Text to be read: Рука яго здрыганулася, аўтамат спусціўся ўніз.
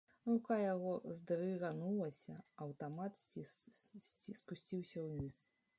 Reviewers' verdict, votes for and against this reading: rejected, 0, 2